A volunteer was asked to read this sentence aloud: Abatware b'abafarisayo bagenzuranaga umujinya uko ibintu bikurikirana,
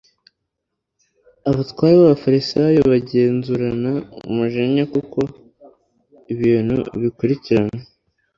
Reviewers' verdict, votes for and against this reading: rejected, 1, 2